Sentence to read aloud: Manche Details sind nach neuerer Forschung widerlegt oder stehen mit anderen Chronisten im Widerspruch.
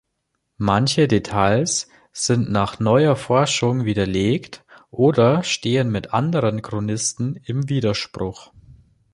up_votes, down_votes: 0, 2